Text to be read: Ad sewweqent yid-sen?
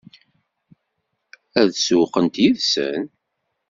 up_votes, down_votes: 2, 0